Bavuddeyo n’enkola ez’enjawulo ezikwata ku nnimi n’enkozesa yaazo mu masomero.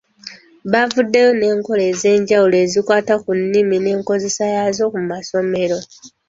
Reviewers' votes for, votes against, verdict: 0, 2, rejected